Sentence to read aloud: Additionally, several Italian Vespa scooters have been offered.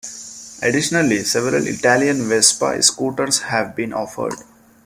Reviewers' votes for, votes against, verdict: 0, 2, rejected